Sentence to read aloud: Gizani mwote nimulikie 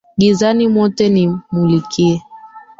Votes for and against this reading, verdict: 2, 3, rejected